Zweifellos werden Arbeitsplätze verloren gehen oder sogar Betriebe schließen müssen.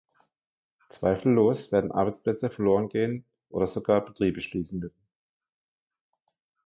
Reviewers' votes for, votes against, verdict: 1, 3, rejected